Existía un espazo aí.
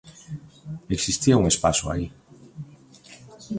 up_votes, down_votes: 0, 2